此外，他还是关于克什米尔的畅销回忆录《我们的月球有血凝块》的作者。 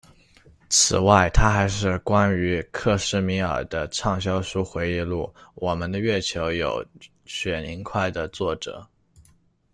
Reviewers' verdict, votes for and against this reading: rejected, 1, 2